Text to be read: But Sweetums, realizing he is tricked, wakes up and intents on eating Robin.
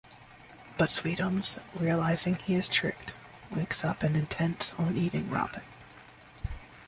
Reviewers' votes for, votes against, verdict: 1, 2, rejected